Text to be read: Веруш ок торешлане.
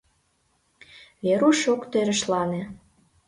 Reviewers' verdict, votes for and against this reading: accepted, 2, 1